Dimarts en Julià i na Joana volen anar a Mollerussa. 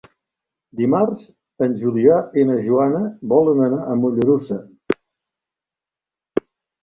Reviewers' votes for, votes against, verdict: 2, 0, accepted